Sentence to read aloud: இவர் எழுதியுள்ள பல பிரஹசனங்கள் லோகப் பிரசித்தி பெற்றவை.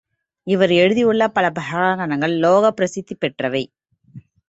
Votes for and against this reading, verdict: 1, 2, rejected